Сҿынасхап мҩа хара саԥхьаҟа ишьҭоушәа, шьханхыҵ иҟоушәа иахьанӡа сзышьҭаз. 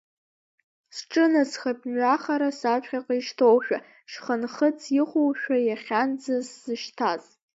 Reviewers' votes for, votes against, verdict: 1, 2, rejected